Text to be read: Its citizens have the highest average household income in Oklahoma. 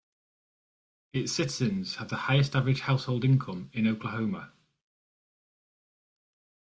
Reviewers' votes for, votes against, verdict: 1, 2, rejected